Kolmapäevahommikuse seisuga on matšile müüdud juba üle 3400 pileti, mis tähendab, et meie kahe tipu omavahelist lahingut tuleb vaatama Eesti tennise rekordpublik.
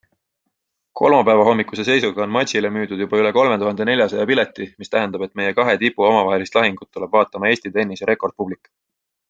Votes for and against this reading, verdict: 0, 2, rejected